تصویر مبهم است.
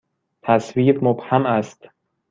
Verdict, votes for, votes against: accepted, 2, 0